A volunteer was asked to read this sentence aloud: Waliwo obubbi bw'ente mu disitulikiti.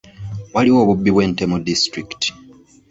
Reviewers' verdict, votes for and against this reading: accepted, 2, 0